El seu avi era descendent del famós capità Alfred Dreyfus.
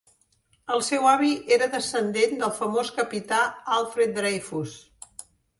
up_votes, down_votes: 4, 0